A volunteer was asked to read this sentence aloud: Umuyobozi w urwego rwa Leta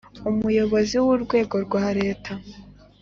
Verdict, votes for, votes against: accepted, 4, 0